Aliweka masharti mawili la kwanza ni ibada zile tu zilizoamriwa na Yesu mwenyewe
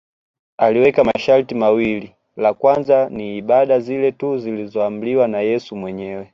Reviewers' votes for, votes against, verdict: 2, 0, accepted